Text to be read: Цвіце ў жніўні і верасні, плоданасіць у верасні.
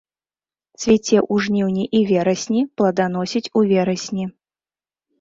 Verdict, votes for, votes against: rejected, 1, 2